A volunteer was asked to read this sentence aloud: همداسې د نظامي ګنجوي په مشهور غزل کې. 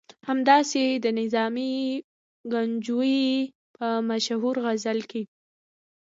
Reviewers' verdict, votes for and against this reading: rejected, 1, 2